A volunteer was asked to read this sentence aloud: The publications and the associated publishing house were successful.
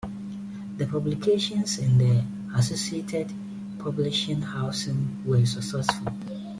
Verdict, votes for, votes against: accepted, 2, 1